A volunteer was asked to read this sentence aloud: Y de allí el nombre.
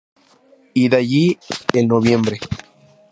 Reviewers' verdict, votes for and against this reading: rejected, 0, 4